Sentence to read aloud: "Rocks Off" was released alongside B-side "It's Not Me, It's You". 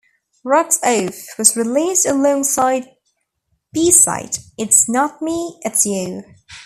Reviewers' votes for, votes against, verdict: 0, 2, rejected